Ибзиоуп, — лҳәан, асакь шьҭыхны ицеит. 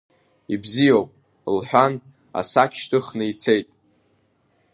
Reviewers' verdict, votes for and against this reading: accepted, 2, 0